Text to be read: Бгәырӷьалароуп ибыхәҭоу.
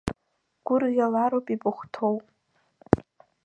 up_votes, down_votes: 0, 2